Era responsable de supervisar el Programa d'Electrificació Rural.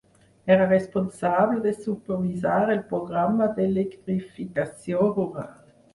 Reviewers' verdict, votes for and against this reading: rejected, 0, 4